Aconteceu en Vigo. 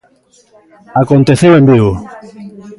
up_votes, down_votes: 1, 2